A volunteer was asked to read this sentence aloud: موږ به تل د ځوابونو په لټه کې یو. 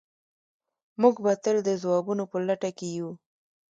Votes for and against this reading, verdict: 1, 2, rejected